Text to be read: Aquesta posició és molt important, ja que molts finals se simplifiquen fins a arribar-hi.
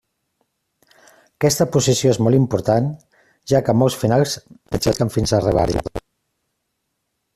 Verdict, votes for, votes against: rejected, 0, 2